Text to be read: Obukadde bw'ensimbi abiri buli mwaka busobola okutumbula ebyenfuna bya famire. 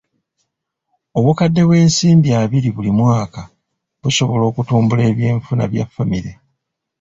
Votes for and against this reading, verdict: 0, 2, rejected